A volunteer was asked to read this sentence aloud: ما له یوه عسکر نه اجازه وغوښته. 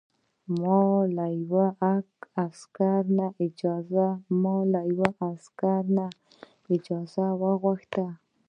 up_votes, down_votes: 1, 2